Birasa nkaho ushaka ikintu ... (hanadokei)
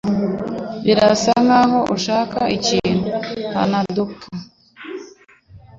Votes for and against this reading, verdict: 2, 0, accepted